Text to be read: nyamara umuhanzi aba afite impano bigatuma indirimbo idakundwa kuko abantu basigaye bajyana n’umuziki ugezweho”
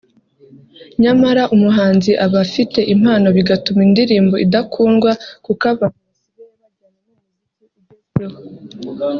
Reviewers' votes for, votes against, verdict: 0, 2, rejected